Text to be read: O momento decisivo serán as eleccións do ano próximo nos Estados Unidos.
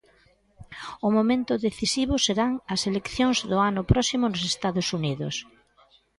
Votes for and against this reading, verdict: 0, 2, rejected